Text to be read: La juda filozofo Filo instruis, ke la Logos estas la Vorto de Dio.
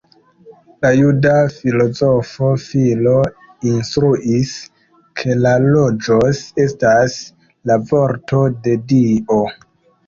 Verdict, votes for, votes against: rejected, 1, 2